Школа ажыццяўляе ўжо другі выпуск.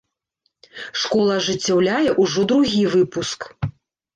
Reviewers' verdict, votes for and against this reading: accepted, 2, 0